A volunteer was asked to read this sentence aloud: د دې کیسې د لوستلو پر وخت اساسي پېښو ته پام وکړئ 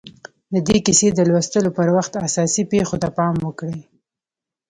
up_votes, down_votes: 1, 2